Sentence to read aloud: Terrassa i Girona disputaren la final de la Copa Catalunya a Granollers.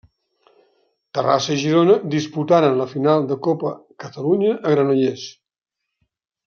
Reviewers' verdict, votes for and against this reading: rejected, 1, 2